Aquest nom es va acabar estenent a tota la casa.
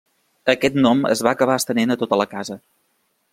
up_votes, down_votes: 0, 2